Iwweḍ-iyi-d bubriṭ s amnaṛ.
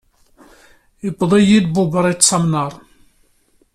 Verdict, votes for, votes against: accepted, 2, 0